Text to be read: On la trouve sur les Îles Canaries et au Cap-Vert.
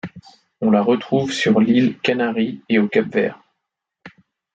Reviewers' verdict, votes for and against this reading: rejected, 0, 2